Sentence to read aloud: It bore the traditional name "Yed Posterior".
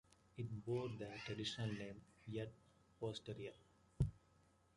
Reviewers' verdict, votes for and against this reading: rejected, 1, 2